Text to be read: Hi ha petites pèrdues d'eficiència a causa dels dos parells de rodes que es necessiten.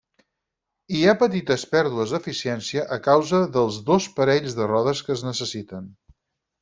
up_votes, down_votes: 0, 4